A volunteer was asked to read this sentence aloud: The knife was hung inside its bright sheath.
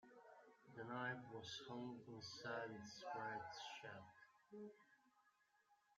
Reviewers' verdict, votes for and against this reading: rejected, 1, 2